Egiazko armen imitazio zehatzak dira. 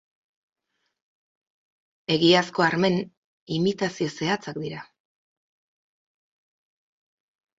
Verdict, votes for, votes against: rejected, 0, 4